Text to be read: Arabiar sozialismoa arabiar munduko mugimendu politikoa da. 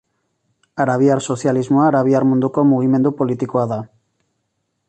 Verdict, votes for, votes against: accepted, 2, 0